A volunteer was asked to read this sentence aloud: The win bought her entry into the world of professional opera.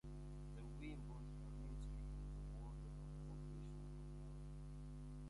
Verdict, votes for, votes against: rejected, 0, 2